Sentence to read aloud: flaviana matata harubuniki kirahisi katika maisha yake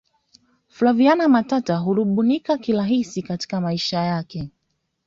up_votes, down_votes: 2, 0